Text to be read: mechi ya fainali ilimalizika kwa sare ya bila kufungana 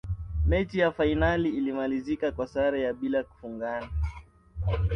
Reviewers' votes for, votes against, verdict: 2, 0, accepted